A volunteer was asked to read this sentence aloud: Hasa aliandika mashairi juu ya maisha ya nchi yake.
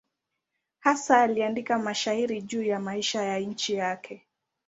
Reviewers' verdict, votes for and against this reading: accepted, 2, 0